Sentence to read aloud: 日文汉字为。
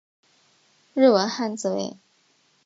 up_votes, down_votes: 2, 0